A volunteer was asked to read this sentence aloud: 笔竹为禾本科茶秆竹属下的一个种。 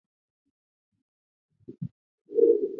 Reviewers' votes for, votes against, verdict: 1, 2, rejected